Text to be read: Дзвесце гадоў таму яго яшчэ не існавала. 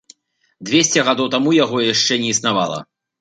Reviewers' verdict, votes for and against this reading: accepted, 2, 1